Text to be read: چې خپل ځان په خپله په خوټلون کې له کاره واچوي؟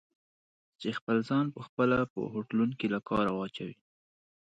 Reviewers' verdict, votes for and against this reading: accepted, 2, 0